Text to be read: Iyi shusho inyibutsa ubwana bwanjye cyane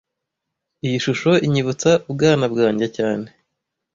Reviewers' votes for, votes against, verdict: 2, 0, accepted